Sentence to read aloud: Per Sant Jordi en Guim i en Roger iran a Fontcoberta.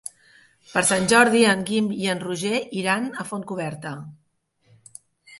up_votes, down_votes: 3, 0